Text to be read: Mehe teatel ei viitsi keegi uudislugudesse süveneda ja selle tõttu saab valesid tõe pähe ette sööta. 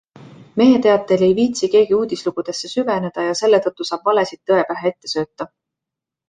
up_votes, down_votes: 2, 0